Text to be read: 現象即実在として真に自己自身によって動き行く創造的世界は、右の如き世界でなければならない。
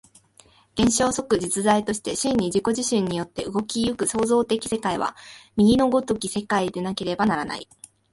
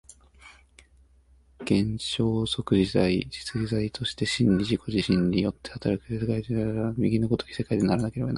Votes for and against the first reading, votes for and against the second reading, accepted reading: 2, 0, 1, 2, first